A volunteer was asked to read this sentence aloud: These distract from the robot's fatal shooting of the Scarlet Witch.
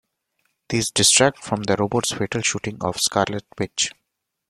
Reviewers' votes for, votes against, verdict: 0, 2, rejected